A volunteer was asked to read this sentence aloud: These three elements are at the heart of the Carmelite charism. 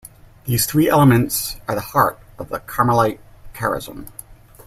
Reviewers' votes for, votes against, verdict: 1, 2, rejected